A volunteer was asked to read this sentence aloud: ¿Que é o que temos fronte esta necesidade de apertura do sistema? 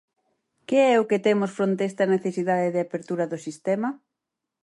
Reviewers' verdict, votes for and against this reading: accepted, 4, 0